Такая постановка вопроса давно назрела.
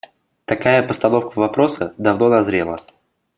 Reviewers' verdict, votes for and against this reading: accepted, 2, 0